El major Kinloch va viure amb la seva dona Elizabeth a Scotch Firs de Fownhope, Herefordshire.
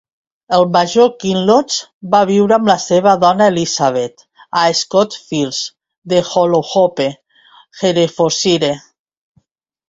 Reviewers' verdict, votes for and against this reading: accepted, 2, 1